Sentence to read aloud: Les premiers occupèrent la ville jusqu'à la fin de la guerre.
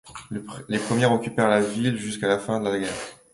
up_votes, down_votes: 1, 2